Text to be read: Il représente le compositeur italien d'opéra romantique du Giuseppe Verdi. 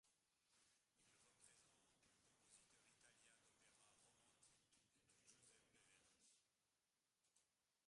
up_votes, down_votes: 0, 3